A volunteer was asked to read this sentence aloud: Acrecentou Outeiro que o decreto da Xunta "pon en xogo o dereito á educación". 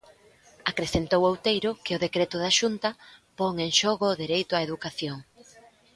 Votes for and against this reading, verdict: 0, 2, rejected